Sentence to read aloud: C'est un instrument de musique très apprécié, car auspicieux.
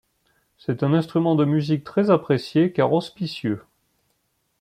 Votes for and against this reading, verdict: 2, 1, accepted